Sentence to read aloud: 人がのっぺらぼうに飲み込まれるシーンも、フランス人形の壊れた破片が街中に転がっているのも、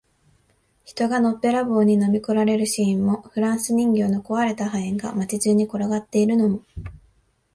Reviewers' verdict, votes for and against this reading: accepted, 2, 1